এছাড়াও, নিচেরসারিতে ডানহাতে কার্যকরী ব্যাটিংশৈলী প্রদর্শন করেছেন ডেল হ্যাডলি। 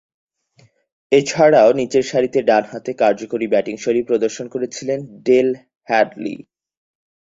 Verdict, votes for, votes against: accepted, 4, 0